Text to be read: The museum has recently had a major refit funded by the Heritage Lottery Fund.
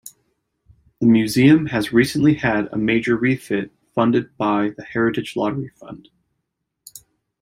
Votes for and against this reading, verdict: 2, 0, accepted